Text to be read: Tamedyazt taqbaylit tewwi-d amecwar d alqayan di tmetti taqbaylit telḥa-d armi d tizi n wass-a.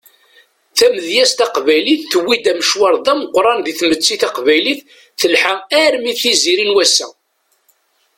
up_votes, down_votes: 1, 2